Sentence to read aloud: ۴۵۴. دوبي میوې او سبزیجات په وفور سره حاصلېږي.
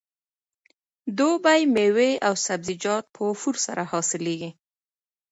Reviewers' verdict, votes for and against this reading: rejected, 0, 2